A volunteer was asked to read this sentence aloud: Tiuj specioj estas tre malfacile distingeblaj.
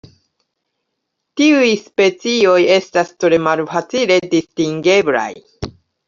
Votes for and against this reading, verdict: 2, 0, accepted